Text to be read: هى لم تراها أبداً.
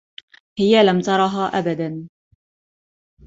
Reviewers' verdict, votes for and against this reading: rejected, 1, 2